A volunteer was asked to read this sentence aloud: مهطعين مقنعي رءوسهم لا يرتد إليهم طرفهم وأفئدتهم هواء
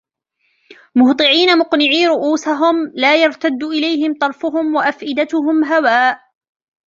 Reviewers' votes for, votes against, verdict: 0, 2, rejected